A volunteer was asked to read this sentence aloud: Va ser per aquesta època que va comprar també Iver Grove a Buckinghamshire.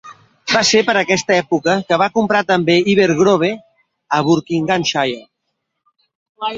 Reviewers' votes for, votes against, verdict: 0, 2, rejected